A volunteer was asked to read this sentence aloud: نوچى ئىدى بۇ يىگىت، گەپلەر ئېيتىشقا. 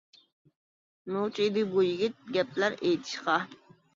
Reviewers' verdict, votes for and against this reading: rejected, 1, 2